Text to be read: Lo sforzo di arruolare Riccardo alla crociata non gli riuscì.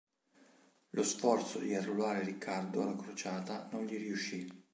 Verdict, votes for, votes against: accepted, 3, 0